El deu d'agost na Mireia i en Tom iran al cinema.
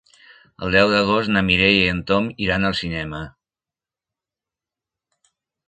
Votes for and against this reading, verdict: 3, 0, accepted